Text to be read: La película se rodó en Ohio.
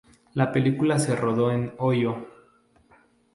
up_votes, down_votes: 0, 2